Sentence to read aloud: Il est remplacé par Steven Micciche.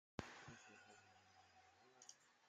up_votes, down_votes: 0, 2